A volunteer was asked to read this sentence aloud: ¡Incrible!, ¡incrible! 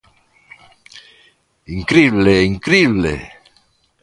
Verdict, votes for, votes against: accepted, 2, 0